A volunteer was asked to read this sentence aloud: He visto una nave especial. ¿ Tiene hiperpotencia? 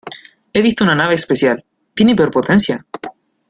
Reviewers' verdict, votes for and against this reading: accepted, 2, 0